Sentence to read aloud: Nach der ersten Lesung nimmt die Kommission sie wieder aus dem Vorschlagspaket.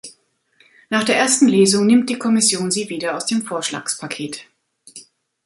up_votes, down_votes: 3, 0